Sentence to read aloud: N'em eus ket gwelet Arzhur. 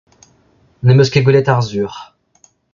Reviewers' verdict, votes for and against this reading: rejected, 1, 2